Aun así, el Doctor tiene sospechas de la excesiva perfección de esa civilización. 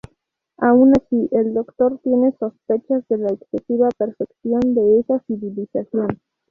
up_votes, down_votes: 2, 0